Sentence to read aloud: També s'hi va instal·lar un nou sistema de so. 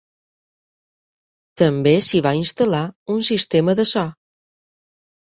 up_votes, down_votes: 0, 4